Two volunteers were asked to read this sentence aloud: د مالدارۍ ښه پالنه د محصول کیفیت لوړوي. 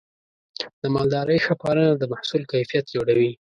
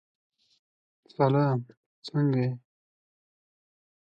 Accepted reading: first